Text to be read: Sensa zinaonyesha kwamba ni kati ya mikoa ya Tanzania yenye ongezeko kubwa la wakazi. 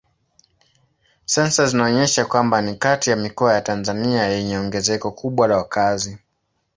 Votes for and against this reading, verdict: 2, 0, accepted